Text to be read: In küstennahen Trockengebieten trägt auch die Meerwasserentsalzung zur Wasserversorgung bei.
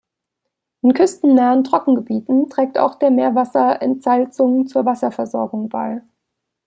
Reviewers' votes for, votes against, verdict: 0, 2, rejected